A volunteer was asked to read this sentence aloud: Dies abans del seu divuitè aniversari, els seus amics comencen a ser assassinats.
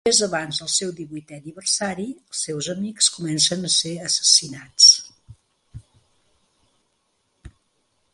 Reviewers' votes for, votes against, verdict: 0, 2, rejected